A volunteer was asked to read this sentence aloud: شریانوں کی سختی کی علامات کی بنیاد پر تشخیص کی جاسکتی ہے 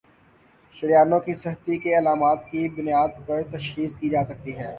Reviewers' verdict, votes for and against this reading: accepted, 6, 0